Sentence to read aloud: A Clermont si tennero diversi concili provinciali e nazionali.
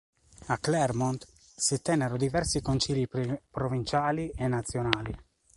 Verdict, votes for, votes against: rejected, 0, 2